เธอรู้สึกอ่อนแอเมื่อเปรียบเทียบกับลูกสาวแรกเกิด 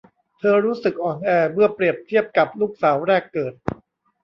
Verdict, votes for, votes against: accepted, 2, 0